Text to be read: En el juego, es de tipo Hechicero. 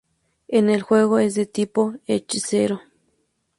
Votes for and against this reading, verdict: 2, 0, accepted